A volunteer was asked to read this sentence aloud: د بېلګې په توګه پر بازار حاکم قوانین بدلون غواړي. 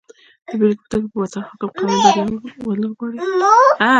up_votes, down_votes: 1, 2